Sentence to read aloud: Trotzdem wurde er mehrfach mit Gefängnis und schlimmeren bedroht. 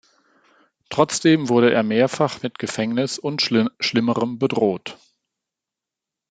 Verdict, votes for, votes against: rejected, 0, 2